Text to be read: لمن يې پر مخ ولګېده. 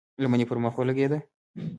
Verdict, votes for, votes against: rejected, 1, 2